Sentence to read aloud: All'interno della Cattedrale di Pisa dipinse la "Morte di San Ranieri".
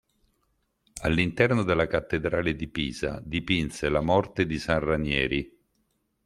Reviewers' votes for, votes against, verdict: 2, 0, accepted